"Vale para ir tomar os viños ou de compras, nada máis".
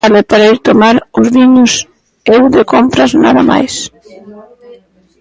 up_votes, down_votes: 0, 2